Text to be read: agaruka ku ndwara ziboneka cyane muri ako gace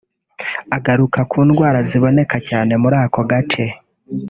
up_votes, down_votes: 1, 2